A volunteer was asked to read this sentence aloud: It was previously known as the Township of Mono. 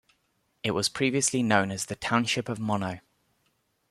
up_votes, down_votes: 2, 0